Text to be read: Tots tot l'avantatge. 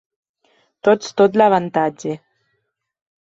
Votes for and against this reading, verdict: 3, 1, accepted